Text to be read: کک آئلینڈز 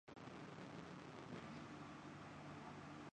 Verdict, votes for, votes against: rejected, 0, 2